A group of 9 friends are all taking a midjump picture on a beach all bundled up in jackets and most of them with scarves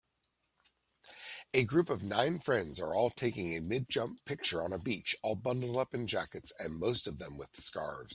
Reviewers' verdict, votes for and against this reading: rejected, 0, 2